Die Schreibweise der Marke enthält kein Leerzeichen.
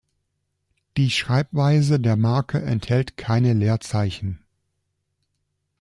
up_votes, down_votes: 0, 2